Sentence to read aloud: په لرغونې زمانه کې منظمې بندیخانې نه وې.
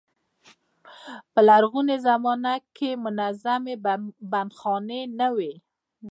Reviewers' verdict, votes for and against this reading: rejected, 1, 2